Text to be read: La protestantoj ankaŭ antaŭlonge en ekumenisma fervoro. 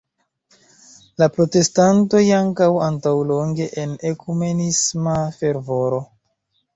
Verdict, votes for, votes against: accepted, 2, 1